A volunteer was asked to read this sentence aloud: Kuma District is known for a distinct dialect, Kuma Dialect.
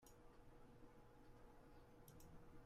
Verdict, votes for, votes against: rejected, 0, 2